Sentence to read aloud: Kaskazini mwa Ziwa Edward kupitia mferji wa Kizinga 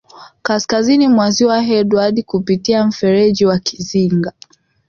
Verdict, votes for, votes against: accepted, 2, 0